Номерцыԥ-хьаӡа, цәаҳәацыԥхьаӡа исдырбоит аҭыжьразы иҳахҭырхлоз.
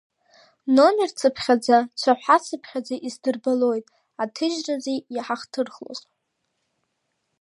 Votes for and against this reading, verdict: 2, 1, accepted